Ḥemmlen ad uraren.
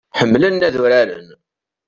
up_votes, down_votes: 2, 0